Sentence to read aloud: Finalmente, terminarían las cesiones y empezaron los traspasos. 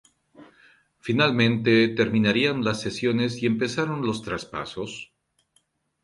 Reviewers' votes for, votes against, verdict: 2, 0, accepted